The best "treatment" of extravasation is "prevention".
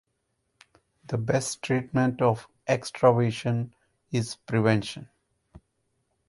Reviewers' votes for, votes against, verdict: 2, 4, rejected